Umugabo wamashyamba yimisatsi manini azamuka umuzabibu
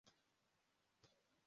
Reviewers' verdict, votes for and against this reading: rejected, 1, 2